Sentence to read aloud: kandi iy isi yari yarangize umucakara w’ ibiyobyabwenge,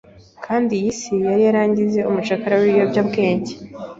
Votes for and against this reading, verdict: 2, 0, accepted